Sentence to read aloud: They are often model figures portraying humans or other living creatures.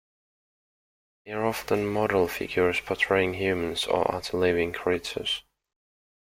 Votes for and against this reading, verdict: 2, 1, accepted